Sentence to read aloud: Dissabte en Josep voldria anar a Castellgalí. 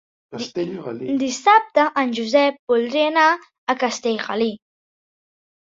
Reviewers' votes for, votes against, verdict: 1, 2, rejected